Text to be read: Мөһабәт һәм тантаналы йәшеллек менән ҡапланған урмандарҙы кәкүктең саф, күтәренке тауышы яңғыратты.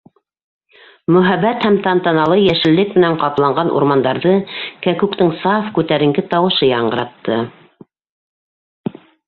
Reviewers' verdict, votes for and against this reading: accepted, 2, 1